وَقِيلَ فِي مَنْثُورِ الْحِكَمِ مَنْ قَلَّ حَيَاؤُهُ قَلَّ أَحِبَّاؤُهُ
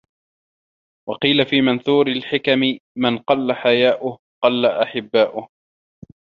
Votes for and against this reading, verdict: 1, 2, rejected